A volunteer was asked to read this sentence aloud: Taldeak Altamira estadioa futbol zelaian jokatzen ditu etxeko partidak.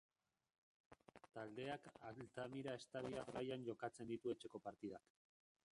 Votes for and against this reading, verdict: 1, 3, rejected